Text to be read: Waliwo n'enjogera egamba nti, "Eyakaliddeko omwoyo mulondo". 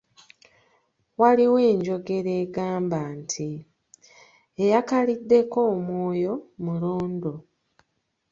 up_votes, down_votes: 1, 2